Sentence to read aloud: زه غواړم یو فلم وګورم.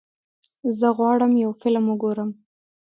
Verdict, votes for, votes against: accepted, 2, 0